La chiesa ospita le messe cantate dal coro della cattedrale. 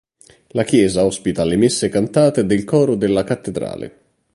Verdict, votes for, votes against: rejected, 1, 2